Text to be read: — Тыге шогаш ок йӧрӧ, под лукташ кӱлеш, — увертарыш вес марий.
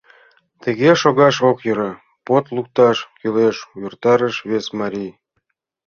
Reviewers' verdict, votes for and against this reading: accepted, 2, 0